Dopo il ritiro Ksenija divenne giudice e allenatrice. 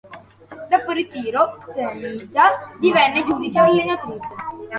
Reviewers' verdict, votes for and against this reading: rejected, 0, 2